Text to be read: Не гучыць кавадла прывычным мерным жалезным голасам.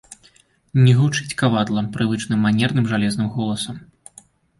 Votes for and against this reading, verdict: 0, 3, rejected